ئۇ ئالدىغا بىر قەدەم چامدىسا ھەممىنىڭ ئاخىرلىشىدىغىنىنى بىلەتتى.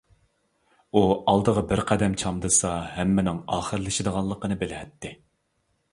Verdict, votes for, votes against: rejected, 0, 2